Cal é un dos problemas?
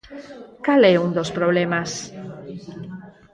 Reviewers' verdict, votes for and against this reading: accepted, 4, 0